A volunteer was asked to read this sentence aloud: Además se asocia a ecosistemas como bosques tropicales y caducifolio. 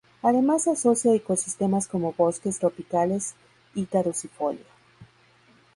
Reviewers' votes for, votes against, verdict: 2, 2, rejected